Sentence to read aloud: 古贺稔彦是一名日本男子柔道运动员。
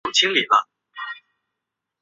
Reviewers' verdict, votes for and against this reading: rejected, 0, 2